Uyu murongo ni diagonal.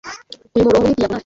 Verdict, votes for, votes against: rejected, 1, 2